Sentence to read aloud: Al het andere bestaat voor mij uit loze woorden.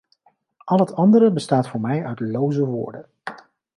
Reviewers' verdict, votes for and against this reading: accepted, 2, 0